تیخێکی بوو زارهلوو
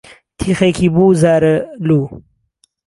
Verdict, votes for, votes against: accepted, 2, 0